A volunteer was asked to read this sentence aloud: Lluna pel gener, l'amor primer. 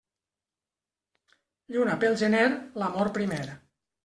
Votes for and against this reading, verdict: 3, 0, accepted